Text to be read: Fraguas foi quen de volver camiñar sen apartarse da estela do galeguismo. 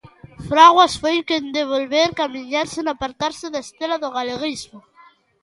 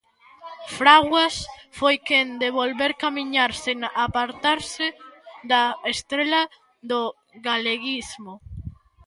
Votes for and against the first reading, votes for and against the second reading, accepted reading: 2, 0, 0, 2, first